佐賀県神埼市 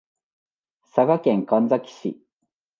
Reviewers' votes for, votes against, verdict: 2, 0, accepted